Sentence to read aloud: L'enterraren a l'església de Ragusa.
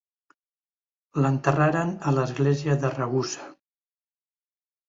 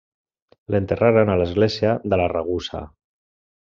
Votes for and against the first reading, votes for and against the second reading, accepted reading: 2, 0, 0, 2, first